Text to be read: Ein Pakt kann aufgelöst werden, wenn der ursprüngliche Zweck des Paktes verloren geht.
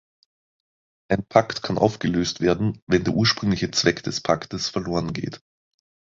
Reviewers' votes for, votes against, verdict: 2, 0, accepted